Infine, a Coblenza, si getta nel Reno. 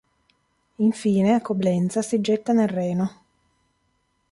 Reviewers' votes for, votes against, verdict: 2, 0, accepted